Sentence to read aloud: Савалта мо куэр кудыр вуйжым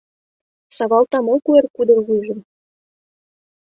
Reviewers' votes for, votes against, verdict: 2, 0, accepted